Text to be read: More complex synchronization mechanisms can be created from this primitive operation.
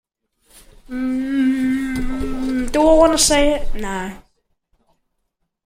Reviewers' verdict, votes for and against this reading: rejected, 0, 2